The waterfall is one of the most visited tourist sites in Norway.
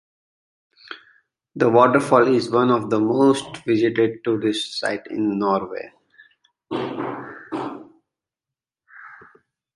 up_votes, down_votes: 2, 1